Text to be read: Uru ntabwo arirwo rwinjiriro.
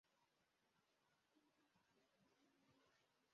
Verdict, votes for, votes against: rejected, 0, 2